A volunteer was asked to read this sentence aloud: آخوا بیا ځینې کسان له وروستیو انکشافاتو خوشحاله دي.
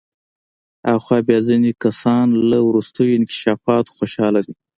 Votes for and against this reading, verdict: 2, 1, accepted